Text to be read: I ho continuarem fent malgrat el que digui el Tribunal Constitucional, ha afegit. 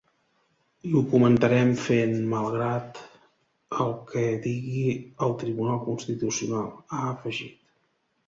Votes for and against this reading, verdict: 0, 2, rejected